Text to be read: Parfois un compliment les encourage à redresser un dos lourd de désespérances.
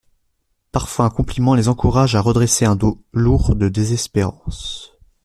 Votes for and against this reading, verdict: 2, 0, accepted